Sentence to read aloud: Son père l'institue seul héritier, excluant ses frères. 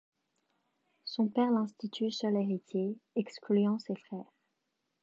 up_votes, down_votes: 2, 0